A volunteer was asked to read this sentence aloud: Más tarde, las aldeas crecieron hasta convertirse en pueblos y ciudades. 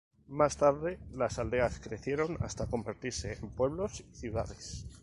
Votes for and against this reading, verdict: 2, 0, accepted